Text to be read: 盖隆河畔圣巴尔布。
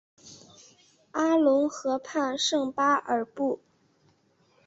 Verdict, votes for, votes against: accepted, 2, 0